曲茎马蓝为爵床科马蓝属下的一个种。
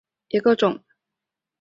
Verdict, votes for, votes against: rejected, 1, 2